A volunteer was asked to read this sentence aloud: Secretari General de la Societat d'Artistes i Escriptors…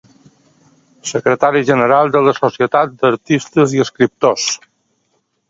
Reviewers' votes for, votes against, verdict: 3, 0, accepted